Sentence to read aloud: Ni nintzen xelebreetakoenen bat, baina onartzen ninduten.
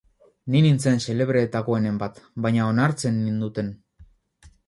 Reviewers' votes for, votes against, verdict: 2, 0, accepted